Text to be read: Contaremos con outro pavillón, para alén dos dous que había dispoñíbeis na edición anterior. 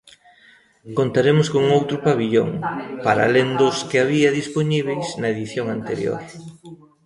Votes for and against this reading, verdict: 0, 2, rejected